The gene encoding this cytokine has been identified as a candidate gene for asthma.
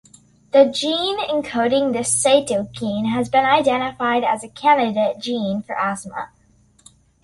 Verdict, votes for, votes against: accepted, 2, 0